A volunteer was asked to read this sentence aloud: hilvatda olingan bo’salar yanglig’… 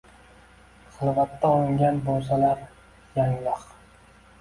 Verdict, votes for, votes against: accepted, 2, 0